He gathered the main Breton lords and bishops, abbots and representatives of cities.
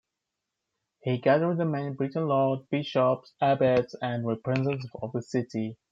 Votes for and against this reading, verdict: 2, 0, accepted